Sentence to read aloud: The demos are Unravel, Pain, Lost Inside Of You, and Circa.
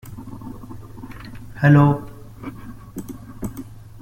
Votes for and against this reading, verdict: 0, 2, rejected